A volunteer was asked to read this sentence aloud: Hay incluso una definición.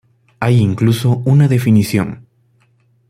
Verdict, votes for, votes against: accepted, 2, 0